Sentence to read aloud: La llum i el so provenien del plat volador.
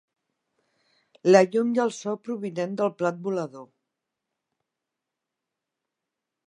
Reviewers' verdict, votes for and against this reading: rejected, 1, 2